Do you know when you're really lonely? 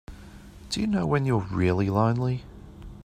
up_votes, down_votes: 3, 0